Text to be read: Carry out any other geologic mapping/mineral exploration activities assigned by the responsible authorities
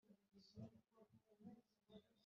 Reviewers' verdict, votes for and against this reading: rejected, 0, 2